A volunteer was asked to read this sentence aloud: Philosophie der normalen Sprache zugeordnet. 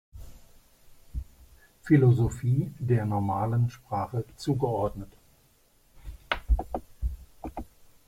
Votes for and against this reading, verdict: 2, 0, accepted